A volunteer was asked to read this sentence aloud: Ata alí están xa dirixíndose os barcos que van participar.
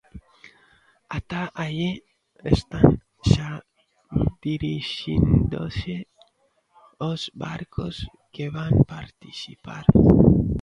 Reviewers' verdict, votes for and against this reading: rejected, 0, 2